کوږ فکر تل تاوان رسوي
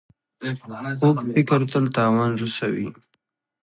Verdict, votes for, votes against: rejected, 1, 2